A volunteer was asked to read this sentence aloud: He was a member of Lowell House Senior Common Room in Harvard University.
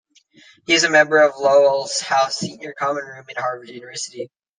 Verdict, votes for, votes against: rejected, 1, 2